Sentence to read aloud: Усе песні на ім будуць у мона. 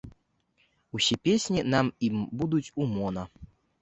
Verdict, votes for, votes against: rejected, 1, 2